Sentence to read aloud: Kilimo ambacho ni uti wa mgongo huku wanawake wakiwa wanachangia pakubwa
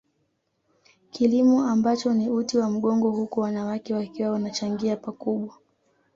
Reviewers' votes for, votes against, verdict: 0, 2, rejected